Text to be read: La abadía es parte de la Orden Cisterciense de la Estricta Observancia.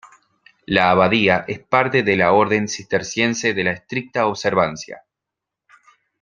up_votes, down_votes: 2, 0